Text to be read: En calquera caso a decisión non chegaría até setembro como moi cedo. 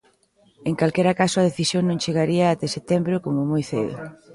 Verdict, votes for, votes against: accepted, 2, 0